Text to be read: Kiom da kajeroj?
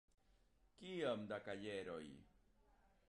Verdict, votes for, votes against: accepted, 2, 1